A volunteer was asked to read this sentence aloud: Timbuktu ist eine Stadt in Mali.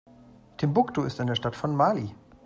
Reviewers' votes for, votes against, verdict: 1, 2, rejected